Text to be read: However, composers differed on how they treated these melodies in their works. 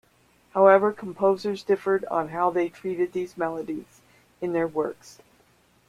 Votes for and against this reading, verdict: 2, 3, rejected